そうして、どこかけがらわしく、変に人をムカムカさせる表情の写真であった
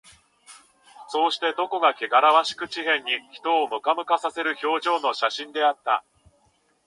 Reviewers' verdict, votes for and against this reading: rejected, 1, 2